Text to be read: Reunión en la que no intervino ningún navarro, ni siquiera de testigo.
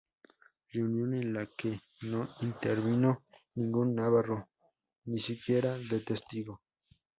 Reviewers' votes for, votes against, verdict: 2, 0, accepted